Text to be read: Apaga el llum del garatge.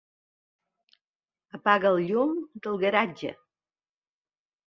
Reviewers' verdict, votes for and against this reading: accepted, 2, 0